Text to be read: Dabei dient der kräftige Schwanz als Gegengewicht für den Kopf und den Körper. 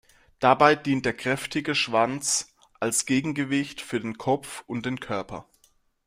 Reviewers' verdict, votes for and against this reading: accepted, 2, 0